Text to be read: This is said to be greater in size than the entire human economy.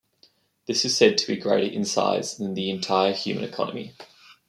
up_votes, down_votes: 1, 2